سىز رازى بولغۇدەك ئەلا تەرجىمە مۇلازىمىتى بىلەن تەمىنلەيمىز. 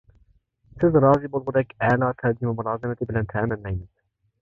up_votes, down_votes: 1, 2